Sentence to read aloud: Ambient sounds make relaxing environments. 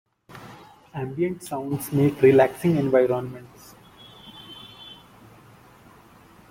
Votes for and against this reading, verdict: 2, 0, accepted